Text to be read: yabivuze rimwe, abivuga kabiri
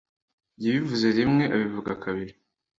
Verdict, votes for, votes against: accepted, 2, 1